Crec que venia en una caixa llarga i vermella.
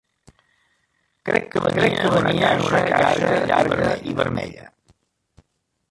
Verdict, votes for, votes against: rejected, 0, 2